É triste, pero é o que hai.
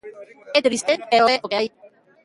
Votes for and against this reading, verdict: 0, 2, rejected